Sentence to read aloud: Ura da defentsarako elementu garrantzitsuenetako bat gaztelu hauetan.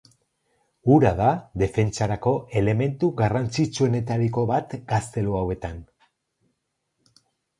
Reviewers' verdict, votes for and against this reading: rejected, 0, 4